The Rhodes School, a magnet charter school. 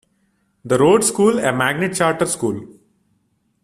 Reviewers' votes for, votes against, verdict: 2, 0, accepted